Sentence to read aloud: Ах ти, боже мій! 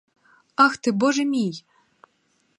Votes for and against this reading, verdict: 4, 0, accepted